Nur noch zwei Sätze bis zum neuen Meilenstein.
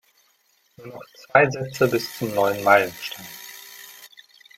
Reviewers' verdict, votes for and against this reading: rejected, 1, 2